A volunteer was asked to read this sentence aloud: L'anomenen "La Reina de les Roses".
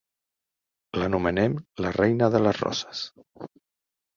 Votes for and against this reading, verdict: 0, 2, rejected